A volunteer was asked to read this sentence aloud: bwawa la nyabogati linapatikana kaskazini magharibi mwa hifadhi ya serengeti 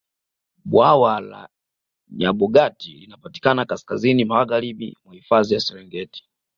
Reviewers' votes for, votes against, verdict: 2, 0, accepted